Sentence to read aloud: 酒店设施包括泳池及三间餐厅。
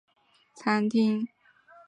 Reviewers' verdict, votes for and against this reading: rejected, 0, 4